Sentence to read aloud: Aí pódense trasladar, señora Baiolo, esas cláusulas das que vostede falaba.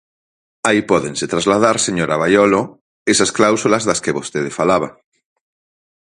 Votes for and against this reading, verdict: 4, 0, accepted